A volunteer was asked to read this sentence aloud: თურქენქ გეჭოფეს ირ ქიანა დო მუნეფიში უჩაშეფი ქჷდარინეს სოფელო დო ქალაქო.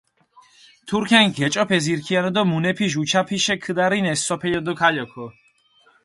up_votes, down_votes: 0, 4